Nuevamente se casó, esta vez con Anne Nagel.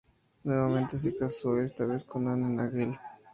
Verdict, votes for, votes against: rejected, 2, 2